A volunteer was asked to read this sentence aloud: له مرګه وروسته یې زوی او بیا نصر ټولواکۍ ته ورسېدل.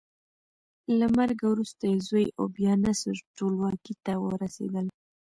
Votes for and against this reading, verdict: 0, 2, rejected